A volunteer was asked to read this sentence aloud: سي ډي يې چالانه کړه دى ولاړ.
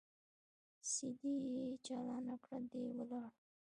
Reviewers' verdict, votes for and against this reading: accepted, 2, 0